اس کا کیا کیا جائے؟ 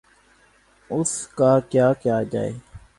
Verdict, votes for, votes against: rejected, 0, 3